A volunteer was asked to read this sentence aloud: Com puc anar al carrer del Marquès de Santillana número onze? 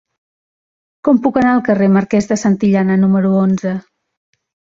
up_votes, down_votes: 0, 2